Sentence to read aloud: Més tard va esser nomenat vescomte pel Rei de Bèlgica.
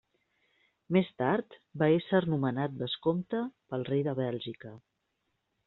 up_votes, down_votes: 2, 0